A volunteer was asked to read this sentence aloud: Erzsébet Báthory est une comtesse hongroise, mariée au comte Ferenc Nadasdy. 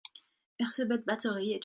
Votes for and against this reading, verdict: 0, 2, rejected